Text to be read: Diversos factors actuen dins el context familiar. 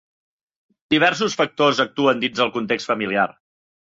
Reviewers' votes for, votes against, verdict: 4, 0, accepted